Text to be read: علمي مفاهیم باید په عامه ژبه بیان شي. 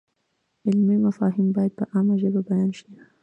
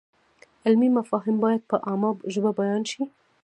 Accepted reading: first